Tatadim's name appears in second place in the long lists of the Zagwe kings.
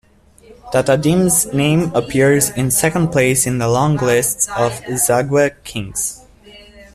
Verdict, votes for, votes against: accepted, 2, 0